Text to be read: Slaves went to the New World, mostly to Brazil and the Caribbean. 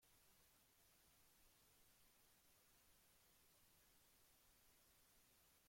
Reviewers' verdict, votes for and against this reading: rejected, 0, 3